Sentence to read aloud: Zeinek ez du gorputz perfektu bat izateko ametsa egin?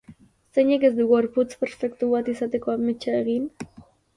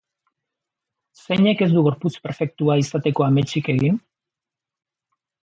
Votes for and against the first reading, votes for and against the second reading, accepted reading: 4, 1, 0, 3, first